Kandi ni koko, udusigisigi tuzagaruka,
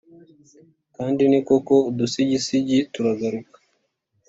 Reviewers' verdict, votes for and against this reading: accepted, 3, 0